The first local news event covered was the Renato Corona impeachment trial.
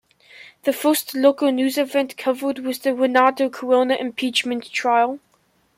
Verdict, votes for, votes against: accepted, 2, 0